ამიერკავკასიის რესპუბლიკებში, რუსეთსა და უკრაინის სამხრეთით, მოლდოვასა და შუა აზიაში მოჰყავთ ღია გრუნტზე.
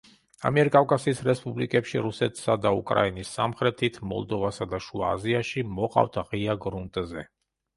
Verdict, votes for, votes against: rejected, 0, 2